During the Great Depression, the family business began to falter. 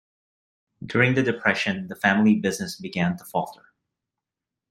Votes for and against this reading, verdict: 0, 2, rejected